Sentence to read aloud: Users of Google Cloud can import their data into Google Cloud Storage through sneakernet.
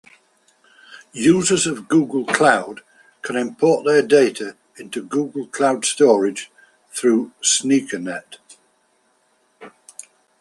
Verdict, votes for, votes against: accepted, 2, 0